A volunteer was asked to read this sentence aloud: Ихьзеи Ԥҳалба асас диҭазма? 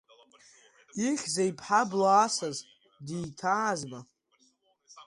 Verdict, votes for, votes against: rejected, 0, 2